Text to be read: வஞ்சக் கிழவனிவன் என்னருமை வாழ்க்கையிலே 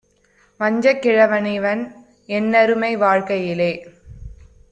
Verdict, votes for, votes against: accepted, 2, 0